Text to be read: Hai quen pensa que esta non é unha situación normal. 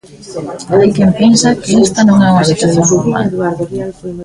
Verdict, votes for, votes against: rejected, 1, 2